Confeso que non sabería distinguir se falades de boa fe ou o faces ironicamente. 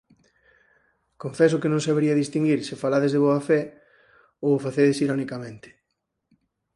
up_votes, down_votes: 2, 4